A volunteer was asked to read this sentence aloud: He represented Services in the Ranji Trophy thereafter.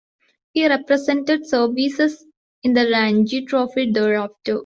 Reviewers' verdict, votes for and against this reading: rejected, 0, 2